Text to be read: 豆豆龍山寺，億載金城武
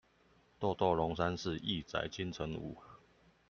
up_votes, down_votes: 2, 1